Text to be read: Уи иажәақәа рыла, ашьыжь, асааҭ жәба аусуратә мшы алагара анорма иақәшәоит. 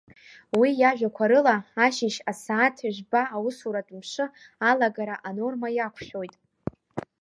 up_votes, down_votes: 1, 2